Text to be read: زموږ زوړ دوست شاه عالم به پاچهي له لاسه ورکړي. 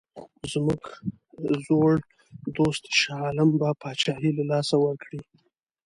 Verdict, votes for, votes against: accepted, 5, 0